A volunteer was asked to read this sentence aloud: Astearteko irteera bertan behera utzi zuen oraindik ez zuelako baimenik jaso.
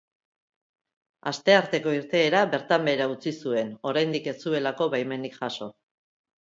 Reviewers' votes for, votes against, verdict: 4, 1, accepted